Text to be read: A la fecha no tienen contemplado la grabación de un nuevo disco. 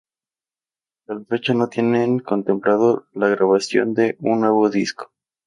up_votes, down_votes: 0, 4